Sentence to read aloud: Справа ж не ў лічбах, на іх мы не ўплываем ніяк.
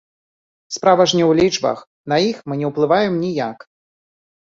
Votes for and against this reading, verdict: 2, 1, accepted